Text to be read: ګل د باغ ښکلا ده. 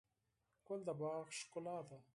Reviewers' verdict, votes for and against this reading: accepted, 4, 0